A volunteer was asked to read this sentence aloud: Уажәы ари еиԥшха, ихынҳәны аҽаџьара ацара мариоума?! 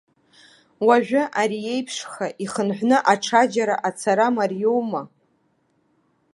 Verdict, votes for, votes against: accepted, 2, 0